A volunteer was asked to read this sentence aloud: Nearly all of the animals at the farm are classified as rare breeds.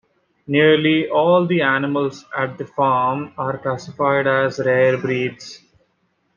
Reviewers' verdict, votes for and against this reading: rejected, 0, 2